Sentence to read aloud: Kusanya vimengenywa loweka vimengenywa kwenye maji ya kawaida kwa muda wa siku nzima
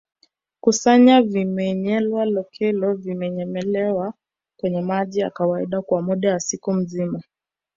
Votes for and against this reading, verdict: 1, 2, rejected